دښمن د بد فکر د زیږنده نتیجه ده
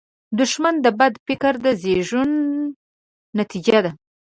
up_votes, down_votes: 1, 2